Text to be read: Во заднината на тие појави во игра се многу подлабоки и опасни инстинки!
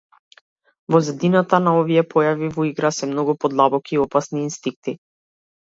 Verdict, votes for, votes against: rejected, 1, 2